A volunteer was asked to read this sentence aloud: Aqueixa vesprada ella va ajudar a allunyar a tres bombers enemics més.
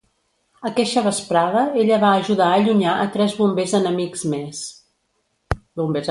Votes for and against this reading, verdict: 0, 2, rejected